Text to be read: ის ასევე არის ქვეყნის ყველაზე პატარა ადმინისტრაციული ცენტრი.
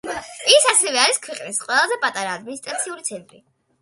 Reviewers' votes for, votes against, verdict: 2, 0, accepted